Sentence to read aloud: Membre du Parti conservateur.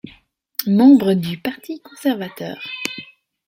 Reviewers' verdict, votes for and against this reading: accepted, 2, 1